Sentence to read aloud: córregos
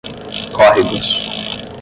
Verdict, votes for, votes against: accepted, 10, 0